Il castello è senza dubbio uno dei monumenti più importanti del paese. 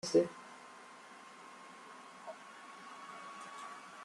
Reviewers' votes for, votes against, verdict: 0, 2, rejected